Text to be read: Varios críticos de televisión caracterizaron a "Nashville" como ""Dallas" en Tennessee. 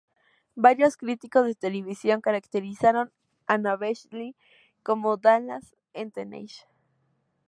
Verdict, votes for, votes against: rejected, 0, 2